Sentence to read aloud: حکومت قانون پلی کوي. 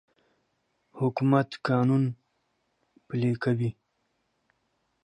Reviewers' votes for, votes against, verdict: 2, 0, accepted